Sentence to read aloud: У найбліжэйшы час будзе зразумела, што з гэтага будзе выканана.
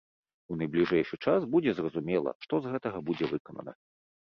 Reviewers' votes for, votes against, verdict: 2, 1, accepted